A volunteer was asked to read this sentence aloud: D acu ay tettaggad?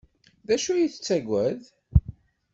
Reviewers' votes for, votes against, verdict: 2, 0, accepted